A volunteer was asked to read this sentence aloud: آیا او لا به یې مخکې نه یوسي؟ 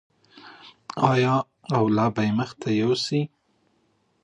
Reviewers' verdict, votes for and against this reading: rejected, 0, 2